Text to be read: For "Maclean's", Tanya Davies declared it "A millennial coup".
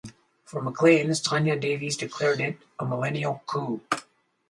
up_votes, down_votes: 2, 2